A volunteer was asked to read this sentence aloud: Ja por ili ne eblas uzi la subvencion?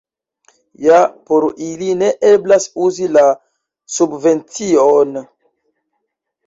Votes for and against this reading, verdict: 1, 2, rejected